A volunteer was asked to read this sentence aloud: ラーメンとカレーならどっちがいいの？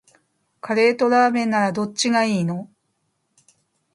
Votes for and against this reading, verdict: 1, 2, rejected